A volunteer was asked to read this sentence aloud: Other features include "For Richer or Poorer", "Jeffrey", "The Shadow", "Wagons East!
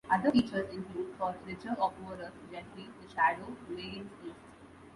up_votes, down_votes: 0, 2